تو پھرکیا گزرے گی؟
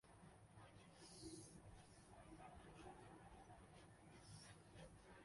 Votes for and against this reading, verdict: 0, 2, rejected